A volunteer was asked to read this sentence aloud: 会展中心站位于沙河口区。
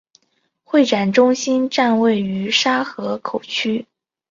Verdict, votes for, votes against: accepted, 2, 0